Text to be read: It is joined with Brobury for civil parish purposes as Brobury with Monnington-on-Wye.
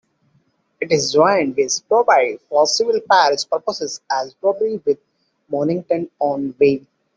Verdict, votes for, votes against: rejected, 1, 2